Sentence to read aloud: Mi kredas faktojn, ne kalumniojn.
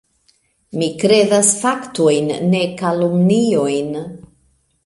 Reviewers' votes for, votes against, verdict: 1, 2, rejected